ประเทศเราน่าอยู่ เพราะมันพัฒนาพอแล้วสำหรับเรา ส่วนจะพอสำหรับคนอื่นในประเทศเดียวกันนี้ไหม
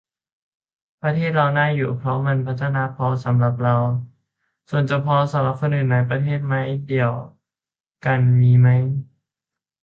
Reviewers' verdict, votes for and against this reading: rejected, 0, 2